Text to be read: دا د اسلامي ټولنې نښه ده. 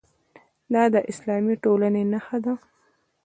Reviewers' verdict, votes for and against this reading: rejected, 1, 2